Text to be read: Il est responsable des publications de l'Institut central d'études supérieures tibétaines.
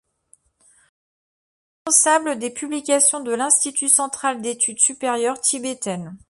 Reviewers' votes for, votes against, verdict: 0, 2, rejected